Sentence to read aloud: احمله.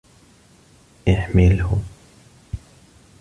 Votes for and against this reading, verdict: 2, 1, accepted